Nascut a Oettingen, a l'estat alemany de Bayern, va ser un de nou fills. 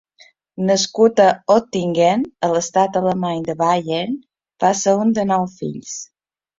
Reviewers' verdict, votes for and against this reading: accepted, 2, 0